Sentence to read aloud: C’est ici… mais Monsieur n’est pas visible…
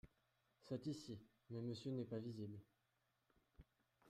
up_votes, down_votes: 1, 2